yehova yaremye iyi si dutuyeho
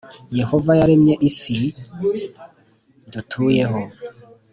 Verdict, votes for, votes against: accepted, 3, 0